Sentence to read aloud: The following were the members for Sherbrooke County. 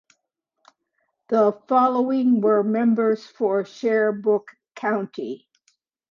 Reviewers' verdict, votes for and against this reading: rejected, 1, 2